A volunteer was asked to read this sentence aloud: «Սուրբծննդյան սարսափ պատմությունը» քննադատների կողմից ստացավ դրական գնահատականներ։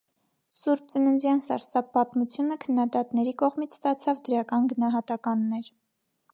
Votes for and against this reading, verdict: 2, 0, accepted